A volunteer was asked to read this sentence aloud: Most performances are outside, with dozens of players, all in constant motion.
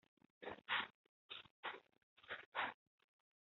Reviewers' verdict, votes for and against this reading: rejected, 0, 3